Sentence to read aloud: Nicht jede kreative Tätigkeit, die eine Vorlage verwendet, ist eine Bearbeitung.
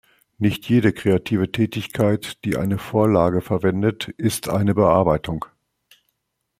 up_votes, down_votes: 3, 0